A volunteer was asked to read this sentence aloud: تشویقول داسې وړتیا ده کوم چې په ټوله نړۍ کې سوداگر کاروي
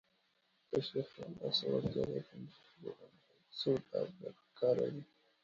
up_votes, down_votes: 1, 2